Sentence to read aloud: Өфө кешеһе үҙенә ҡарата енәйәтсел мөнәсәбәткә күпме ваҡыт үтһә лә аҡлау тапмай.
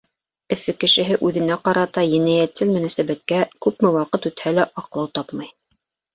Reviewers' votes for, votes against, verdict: 2, 0, accepted